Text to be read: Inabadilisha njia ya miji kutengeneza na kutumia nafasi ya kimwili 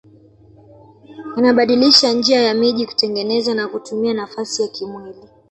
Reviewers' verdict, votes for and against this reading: rejected, 1, 2